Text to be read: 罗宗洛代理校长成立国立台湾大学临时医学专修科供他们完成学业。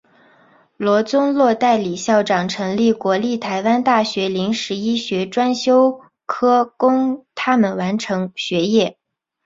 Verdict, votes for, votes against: accepted, 5, 0